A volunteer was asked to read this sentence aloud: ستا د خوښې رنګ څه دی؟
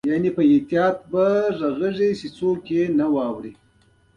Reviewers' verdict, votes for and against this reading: accepted, 2, 1